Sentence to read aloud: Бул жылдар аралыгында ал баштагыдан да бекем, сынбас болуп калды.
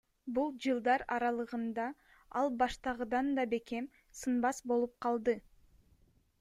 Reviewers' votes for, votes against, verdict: 1, 2, rejected